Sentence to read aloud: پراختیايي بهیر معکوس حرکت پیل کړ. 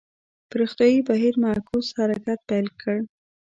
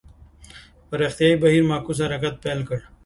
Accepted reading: second